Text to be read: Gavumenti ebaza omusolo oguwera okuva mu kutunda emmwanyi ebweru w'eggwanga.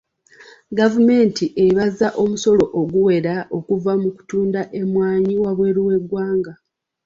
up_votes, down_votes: 0, 2